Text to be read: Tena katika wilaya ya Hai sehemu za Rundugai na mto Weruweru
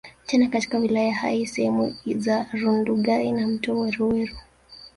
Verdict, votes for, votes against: rejected, 1, 2